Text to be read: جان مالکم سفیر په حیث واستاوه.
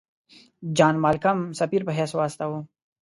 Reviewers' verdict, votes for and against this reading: accepted, 2, 0